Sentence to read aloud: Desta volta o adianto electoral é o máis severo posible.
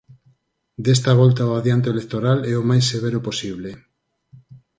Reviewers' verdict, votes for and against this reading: accepted, 4, 2